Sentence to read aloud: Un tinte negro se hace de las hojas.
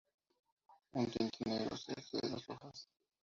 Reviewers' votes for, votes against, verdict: 0, 2, rejected